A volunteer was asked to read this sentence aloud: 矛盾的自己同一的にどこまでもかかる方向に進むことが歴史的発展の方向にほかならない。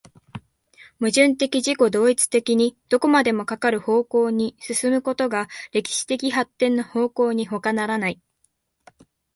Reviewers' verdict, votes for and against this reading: accepted, 2, 0